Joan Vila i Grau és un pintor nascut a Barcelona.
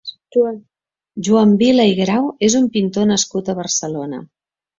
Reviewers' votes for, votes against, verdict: 1, 2, rejected